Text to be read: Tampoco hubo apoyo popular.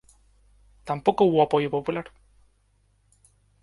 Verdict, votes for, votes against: accepted, 2, 0